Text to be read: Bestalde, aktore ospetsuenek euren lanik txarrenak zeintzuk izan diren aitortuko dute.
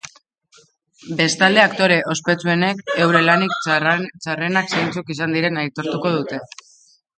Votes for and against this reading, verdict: 0, 2, rejected